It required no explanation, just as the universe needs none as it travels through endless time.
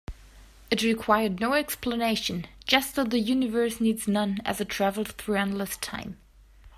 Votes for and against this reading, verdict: 3, 0, accepted